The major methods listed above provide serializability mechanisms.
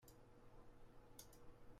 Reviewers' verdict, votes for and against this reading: rejected, 0, 2